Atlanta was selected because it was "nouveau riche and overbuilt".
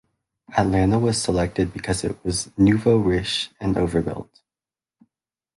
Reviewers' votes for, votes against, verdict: 0, 2, rejected